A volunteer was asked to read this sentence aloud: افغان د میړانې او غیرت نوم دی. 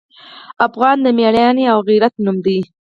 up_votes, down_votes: 2, 4